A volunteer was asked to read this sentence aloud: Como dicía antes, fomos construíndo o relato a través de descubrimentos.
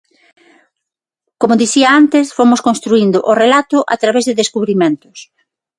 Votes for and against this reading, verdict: 6, 0, accepted